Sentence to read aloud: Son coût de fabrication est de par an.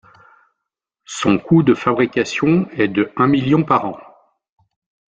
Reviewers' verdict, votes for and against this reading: rejected, 1, 2